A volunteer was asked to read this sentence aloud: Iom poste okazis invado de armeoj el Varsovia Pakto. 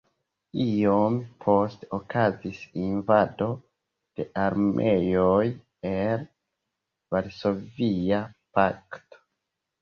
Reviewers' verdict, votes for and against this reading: rejected, 0, 2